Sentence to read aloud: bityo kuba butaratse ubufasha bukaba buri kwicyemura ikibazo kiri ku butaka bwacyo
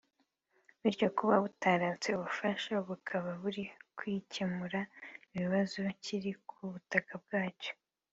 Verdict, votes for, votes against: accepted, 2, 0